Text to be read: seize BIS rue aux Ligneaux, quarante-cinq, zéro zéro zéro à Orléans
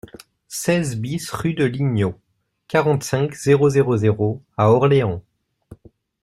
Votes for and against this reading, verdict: 0, 2, rejected